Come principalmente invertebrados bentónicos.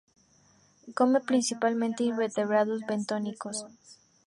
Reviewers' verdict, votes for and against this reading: accepted, 4, 0